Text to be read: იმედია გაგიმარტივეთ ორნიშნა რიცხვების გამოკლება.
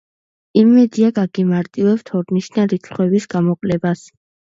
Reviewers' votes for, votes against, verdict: 0, 2, rejected